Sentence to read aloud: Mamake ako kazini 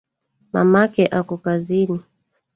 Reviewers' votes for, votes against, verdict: 0, 2, rejected